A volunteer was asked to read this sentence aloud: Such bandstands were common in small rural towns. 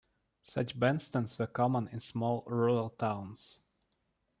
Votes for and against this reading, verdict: 2, 0, accepted